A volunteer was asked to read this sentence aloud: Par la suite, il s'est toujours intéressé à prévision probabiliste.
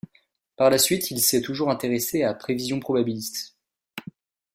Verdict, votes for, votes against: accepted, 2, 0